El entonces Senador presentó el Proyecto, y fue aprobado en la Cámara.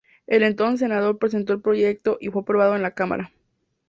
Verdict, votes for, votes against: accepted, 2, 0